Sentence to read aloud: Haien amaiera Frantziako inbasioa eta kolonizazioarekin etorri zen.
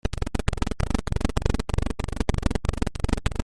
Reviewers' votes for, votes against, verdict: 0, 2, rejected